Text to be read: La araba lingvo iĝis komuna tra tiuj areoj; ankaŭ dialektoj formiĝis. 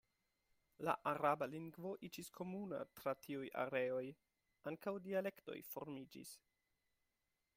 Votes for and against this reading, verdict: 2, 0, accepted